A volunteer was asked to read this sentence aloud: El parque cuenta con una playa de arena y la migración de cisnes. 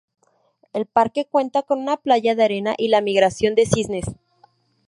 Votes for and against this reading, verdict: 2, 0, accepted